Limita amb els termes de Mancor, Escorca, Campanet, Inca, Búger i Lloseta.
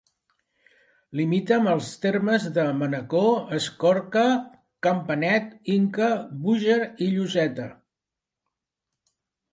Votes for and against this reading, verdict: 1, 2, rejected